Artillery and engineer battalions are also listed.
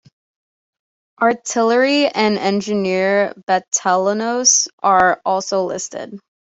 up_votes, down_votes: 1, 2